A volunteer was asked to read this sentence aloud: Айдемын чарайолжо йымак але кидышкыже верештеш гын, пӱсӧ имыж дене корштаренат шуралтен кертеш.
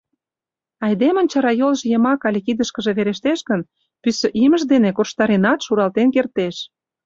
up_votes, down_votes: 3, 0